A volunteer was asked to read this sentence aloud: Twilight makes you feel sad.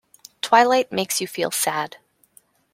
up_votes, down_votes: 2, 0